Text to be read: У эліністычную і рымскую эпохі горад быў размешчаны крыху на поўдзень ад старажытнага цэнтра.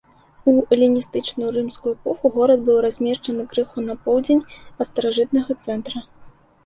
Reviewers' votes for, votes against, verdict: 0, 2, rejected